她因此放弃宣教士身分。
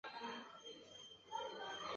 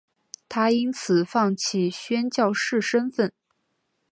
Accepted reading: second